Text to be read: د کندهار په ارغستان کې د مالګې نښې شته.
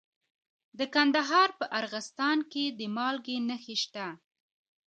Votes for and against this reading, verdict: 1, 2, rejected